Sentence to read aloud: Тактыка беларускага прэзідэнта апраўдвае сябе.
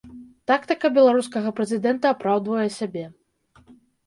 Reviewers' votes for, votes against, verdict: 0, 2, rejected